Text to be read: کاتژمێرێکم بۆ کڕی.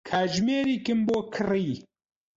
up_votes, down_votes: 2, 4